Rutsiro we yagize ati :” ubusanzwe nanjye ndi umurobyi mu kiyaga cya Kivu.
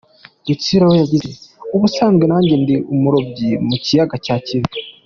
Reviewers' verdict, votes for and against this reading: accepted, 2, 1